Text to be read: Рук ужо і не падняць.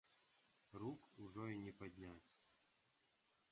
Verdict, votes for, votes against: rejected, 0, 2